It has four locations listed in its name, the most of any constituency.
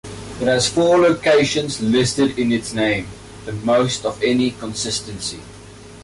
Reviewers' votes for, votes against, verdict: 1, 2, rejected